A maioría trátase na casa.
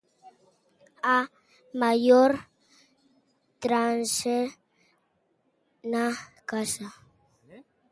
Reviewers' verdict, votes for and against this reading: rejected, 0, 3